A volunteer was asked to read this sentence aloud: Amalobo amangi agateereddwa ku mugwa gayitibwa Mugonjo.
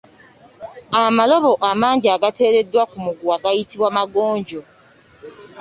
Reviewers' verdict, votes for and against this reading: rejected, 1, 2